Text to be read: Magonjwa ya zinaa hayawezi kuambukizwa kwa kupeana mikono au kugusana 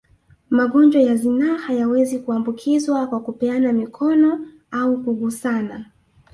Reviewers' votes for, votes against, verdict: 2, 0, accepted